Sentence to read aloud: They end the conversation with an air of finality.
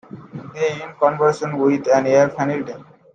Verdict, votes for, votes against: rejected, 0, 2